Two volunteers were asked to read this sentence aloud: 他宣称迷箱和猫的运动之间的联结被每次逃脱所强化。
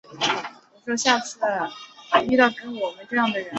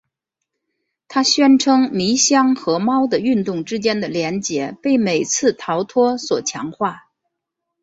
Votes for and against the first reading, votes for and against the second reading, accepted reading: 0, 2, 2, 0, second